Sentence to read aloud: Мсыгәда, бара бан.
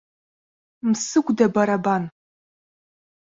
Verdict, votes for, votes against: accepted, 2, 0